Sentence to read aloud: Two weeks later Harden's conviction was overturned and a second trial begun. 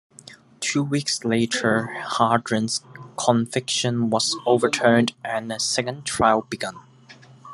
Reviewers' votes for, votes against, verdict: 0, 2, rejected